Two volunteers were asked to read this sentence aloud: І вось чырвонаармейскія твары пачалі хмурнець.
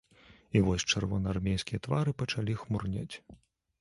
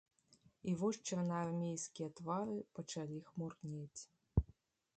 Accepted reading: first